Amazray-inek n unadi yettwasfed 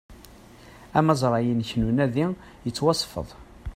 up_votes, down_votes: 0, 2